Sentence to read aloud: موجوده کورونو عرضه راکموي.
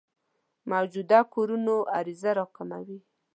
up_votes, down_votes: 2, 0